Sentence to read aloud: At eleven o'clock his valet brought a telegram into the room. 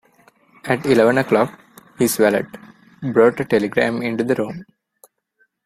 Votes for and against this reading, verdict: 0, 2, rejected